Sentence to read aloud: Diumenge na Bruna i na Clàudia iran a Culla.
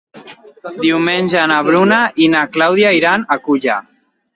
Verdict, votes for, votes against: rejected, 1, 2